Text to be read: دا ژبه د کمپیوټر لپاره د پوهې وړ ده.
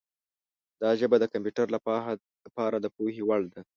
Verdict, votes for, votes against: rejected, 1, 2